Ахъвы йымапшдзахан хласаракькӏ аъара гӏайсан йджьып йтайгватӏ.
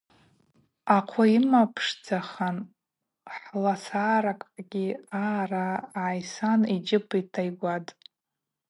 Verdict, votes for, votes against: rejected, 2, 2